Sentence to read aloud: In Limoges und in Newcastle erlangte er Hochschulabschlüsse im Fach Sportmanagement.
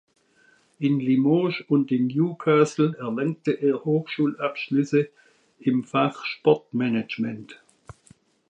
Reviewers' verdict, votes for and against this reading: accepted, 2, 0